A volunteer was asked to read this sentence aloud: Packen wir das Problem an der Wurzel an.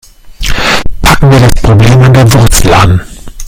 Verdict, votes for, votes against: rejected, 0, 2